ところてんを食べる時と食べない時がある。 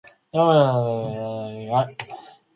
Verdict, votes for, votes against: rejected, 0, 2